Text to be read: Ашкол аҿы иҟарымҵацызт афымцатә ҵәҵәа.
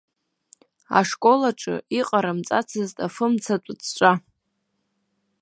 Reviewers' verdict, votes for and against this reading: accepted, 2, 1